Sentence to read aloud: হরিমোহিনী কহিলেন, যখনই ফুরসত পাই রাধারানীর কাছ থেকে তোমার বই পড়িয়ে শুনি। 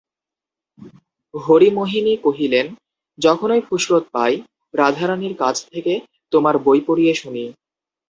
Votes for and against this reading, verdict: 2, 0, accepted